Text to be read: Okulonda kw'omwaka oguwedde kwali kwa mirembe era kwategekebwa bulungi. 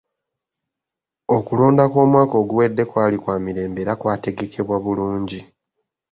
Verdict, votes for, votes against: accepted, 2, 0